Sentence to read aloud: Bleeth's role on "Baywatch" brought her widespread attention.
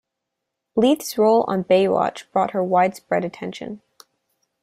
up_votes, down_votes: 2, 3